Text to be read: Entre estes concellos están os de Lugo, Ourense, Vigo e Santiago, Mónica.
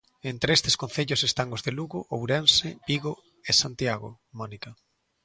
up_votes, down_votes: 2, 0